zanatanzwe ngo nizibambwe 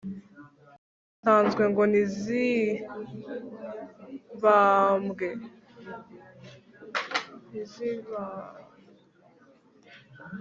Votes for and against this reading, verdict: 1, 2, rejected